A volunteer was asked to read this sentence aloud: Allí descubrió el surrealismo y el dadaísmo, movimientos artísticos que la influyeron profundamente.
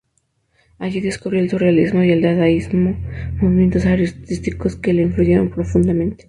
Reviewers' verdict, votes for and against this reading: rejected, 0, 2